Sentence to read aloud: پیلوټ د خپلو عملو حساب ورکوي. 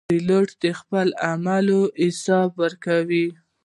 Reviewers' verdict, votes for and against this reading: accepted, 2, 0